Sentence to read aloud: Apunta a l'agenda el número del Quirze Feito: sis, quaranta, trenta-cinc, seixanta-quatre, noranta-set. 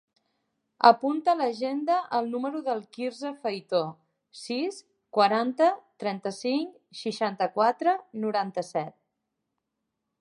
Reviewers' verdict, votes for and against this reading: rejected, 2, 4